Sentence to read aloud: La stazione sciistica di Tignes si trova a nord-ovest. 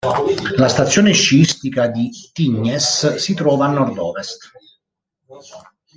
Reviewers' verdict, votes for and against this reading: accepted, 2, 0